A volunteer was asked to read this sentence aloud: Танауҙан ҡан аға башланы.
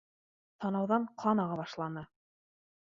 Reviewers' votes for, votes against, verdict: 2, 0, accepted